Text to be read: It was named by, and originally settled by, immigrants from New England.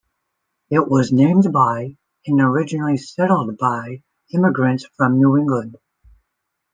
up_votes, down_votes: 1, 2